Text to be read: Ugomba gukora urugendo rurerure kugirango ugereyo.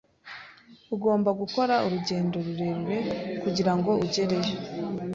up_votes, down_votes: 2, 0